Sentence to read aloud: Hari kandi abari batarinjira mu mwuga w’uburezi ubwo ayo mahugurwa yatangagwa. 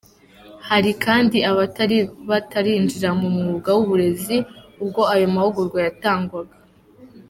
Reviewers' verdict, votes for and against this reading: rejected, 0, 2